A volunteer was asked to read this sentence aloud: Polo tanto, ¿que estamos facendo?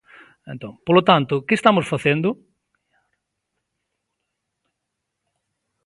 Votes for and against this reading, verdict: 1, 2, rejected